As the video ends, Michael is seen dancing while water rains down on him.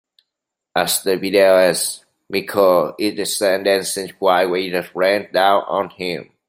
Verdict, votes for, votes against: rejected, 1, 2